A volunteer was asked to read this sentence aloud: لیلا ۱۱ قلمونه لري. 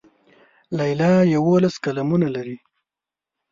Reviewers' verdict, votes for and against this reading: rejected, 0, 2